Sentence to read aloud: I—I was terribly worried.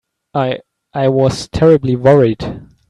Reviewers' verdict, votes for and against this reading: accepted, 3, 0